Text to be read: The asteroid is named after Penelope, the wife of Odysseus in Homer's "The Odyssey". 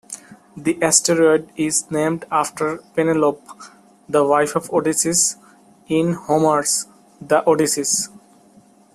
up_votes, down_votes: 0, 2